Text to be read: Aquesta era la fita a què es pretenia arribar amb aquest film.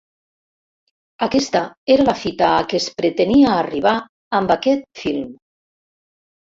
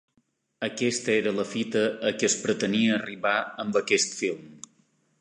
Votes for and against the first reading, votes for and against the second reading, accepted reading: 1, 2, 2, 0, second